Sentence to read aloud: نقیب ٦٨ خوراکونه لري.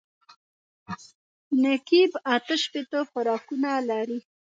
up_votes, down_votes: 0, 2